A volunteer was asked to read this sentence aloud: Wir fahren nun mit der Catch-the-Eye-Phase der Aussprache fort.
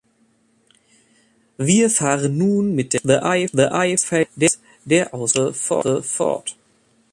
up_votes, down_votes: 0, 3